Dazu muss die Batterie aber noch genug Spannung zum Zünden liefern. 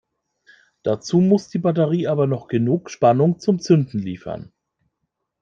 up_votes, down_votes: 2, 0